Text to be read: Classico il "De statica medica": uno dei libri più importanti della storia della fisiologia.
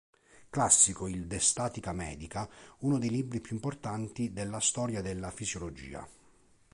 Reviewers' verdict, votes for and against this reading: accepted, 2, 0